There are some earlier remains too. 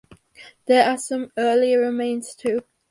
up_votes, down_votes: 2, 4